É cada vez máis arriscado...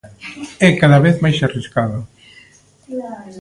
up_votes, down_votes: 1, 2